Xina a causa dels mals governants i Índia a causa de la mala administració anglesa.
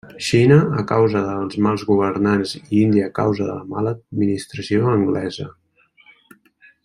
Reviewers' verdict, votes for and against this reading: accepted, 3, 0